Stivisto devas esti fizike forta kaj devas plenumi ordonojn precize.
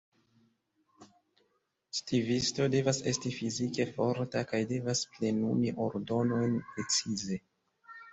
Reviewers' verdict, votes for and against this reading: accepted, 2, 1